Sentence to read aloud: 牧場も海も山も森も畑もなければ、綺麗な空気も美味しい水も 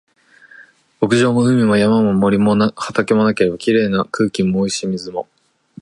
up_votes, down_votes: 2, 0